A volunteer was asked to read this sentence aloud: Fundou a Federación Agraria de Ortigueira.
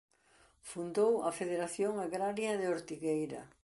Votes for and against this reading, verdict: 2, 0, accepted